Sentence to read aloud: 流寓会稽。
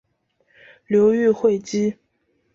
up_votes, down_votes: 2, 0